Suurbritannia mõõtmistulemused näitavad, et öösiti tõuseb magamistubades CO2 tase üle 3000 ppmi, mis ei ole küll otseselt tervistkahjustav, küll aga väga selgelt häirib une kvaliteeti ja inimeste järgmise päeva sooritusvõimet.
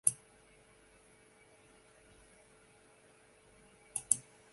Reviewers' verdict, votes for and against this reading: rejected, 0, 2